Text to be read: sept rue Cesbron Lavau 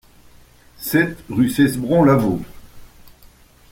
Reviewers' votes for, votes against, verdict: 2, 0, accepted